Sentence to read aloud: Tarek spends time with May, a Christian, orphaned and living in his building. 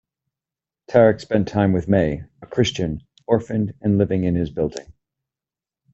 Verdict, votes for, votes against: rejected, 1, 2